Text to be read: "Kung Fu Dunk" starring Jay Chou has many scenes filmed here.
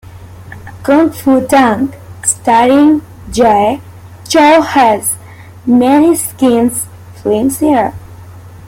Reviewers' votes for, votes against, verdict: 2, 1, accepted